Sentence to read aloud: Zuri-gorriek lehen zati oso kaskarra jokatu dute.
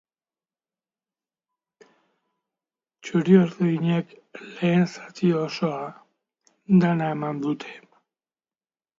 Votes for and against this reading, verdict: 0, 2, rejected